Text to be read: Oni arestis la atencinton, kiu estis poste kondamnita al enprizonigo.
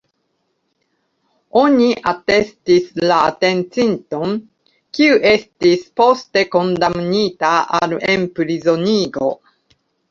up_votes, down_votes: 0, 2